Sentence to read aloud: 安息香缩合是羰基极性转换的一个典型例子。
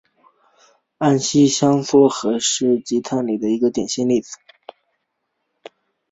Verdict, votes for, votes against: rejected, 0, 2